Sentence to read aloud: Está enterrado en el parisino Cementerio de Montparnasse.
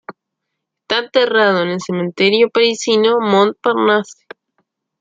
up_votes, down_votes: 1, 2